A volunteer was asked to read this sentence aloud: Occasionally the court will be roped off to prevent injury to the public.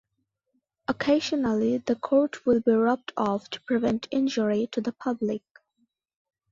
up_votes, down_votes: 2, 0